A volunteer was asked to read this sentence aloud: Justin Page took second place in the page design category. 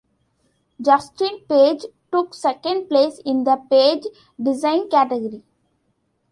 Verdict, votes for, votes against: accepted, 2, 0